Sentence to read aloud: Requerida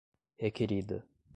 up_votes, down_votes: 2, 0